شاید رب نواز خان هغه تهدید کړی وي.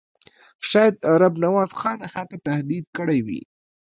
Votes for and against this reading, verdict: 1, 2, rejected